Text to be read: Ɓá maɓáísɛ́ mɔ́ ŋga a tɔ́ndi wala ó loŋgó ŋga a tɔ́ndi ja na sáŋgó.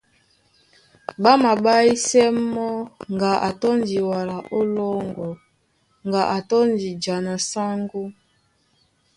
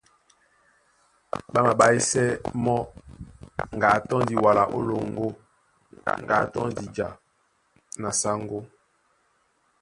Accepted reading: second